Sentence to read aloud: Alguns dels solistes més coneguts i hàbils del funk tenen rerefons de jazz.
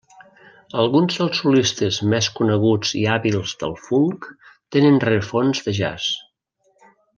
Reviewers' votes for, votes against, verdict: 2, 0, accepted